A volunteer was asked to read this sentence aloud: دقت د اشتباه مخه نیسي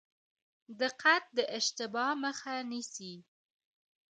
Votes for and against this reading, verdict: 0, 2, rejected